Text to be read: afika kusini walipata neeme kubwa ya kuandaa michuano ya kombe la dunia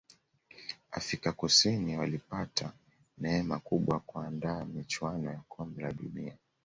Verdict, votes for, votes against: accepted, 2, 0